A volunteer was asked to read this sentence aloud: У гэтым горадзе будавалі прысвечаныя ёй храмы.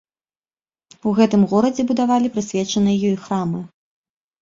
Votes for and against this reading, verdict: 2, 0, accepted